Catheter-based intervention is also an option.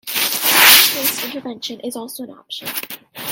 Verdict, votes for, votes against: rejected, 1, 2